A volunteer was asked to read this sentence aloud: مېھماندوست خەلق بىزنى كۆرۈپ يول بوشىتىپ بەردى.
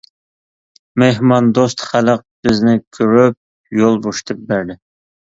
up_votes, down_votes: 2, 0